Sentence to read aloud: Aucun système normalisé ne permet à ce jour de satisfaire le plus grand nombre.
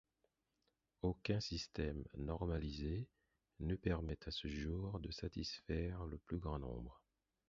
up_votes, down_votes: 0, 4